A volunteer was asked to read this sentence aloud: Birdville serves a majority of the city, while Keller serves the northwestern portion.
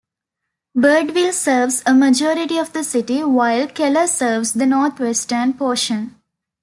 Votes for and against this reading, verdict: 2, 0, accepted